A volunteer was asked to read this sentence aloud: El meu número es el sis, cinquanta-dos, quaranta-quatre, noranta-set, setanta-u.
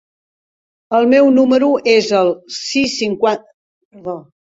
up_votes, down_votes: 0, 2